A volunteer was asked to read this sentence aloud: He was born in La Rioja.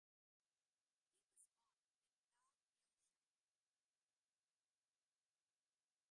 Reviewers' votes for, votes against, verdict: 0, 2, rejected